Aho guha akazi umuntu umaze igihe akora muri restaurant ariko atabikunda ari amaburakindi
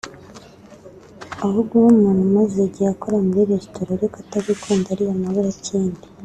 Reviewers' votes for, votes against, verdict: 1, 2, rejected